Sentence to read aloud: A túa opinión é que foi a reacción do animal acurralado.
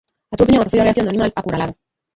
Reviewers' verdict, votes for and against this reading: rejected, 0, 2